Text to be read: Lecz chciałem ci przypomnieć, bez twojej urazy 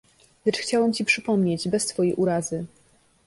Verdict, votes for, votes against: accepted, 2, 0